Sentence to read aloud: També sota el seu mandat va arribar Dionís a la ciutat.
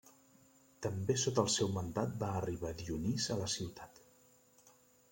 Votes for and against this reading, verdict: 2, 0, accepted